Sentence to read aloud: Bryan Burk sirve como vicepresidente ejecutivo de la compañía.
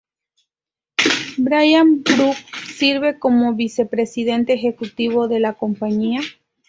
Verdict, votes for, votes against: rejected, 2, 2